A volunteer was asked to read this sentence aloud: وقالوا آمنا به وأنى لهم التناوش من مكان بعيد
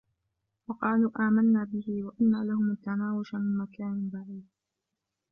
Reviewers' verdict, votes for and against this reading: rejected, 1, 2